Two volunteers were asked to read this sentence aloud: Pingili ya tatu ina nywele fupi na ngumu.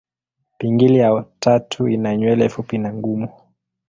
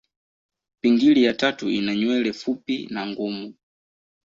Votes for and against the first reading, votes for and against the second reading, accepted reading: 1, 2, 2, 0, second